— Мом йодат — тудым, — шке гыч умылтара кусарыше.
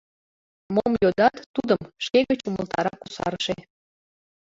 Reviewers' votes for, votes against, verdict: 0, 2, rejected